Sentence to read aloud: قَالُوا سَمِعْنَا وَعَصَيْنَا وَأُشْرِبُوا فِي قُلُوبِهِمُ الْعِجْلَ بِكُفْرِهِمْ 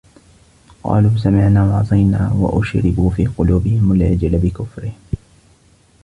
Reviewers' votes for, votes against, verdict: 2, 1, accepted